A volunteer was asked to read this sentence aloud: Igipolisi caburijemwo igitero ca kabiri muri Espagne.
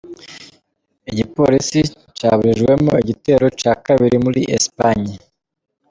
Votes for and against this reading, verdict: 2, 0, accepted